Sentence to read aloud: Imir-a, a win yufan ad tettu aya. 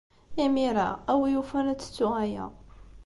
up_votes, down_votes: 2, 0